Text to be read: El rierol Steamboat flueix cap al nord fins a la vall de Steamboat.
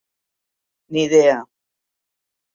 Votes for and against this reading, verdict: 0, 2, rejected